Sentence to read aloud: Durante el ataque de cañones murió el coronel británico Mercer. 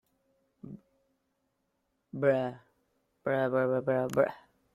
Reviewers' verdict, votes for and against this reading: rejected, 0, 2